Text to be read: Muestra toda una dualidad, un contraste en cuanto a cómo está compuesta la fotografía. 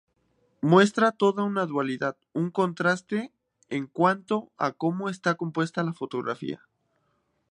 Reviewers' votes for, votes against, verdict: 4, 0, accepted